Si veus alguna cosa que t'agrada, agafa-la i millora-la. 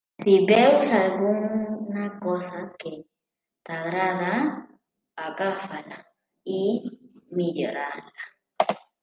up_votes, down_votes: 0, 2